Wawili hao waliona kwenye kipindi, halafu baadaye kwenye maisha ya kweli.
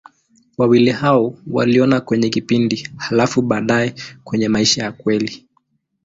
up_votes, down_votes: 2, 0